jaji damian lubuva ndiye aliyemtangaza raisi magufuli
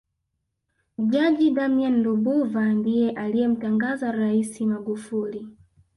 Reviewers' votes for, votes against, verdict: 1, 2, rejected